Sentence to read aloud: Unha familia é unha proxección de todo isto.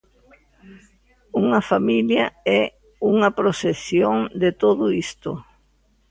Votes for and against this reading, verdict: 0, 2, rejected